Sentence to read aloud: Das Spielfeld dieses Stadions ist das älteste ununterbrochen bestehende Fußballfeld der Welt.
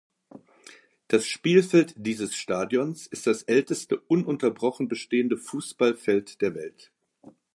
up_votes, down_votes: 2, 0